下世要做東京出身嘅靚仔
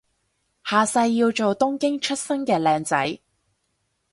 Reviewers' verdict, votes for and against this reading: accepted, 4, 0